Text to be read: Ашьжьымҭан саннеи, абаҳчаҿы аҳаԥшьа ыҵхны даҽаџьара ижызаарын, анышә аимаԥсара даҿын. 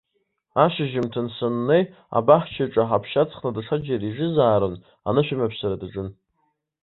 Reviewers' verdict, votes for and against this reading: accepted, 2, 0